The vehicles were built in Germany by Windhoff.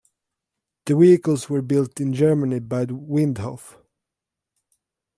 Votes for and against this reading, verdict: 2, 1, accepted